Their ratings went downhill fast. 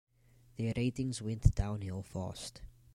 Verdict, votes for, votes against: accepted, 2, 0